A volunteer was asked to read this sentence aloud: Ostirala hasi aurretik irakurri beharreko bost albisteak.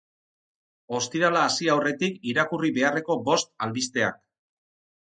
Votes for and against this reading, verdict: 6, 0, accepted